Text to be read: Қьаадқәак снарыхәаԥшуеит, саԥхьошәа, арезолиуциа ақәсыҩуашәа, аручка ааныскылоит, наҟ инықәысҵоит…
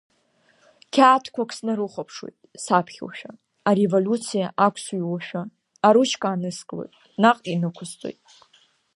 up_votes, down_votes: 1, 2